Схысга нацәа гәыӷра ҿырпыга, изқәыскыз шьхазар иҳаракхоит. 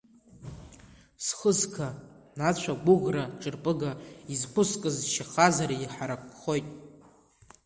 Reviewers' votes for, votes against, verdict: 1, 2, rejected